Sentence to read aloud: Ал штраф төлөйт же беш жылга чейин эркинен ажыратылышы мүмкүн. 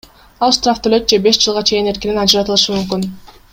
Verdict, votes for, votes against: accepted, 2, 0